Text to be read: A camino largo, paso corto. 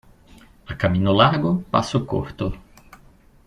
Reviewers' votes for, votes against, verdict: 3, 1, accepted